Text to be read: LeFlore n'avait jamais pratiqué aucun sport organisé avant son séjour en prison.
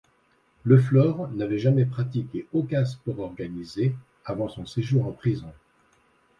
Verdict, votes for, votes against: accepted, 2, 0